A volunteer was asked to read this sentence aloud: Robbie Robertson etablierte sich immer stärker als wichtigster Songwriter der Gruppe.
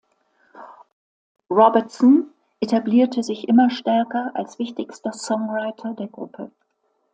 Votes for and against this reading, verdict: 1, 2, rejected